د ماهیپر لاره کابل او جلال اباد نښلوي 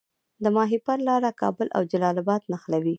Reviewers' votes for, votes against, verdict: 2, 0, accepted